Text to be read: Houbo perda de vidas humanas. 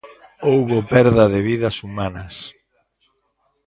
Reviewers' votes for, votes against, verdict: 2, 0, accepted